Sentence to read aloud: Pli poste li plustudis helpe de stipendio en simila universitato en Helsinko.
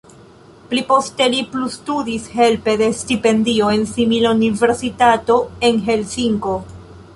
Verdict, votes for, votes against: accepted, 2, 0